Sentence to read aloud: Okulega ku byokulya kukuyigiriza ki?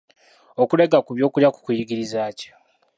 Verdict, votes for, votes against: rejected, 1, 2